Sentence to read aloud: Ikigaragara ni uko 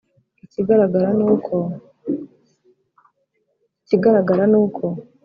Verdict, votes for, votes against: rejected, 1, 2